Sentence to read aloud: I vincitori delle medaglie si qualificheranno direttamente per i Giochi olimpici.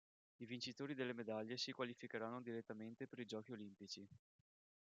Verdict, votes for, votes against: rejected, 1, 2